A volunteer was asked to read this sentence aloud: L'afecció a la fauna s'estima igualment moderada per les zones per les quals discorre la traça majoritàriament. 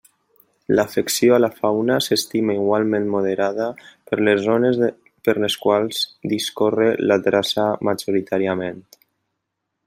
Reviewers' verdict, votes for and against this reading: rejected, 1, 2